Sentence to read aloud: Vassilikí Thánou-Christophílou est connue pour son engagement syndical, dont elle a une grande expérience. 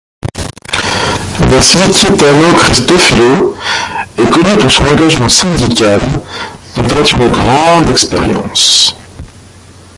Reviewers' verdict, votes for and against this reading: rejected, 0, 2